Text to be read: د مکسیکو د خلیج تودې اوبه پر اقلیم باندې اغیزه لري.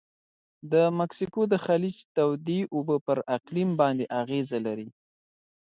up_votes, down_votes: 2, 0